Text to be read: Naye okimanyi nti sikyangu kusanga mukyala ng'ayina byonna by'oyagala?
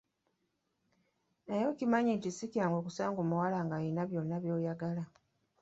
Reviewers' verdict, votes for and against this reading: rejected, 0, 2